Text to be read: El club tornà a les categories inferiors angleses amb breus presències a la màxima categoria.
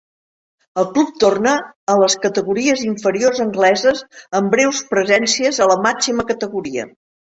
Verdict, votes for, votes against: rejected, 0, 2